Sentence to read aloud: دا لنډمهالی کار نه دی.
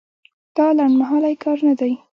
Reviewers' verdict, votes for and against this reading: accepted, 2, 0